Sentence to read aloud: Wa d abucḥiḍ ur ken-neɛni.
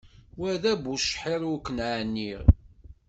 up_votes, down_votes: 2, 0